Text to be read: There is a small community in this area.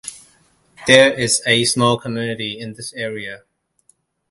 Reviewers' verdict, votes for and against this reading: accepted, 2, 0